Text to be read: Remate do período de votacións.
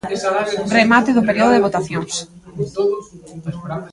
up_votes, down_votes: 1, 4